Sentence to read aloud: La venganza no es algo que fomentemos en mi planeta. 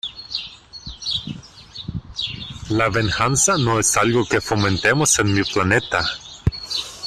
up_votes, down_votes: 1, 2